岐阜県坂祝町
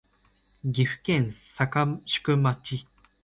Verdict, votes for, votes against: rejected, 0, 2